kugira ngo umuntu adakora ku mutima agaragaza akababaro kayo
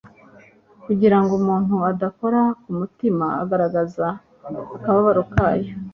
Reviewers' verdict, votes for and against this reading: accepted, 2, 0